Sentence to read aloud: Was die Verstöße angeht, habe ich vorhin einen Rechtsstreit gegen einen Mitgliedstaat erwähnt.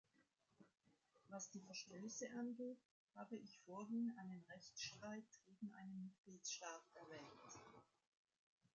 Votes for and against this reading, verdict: 2, 0, accepted